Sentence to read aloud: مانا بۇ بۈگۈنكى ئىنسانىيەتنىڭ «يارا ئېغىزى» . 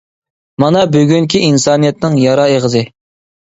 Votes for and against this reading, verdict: 0, 2, rejected